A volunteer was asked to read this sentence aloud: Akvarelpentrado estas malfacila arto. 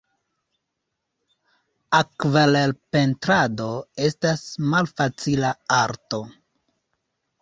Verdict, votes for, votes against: accepted, 2, 0